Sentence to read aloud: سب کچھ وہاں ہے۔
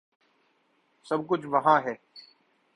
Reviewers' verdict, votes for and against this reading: accepted, 3, 0